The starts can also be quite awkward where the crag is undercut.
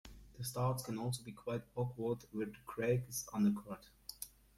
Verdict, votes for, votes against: accepted, 2, 1